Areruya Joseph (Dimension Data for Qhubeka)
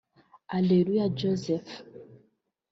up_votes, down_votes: 0, 2